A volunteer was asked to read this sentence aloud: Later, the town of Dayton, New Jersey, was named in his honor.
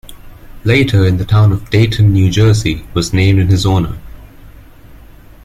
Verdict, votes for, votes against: accepted, 2, 0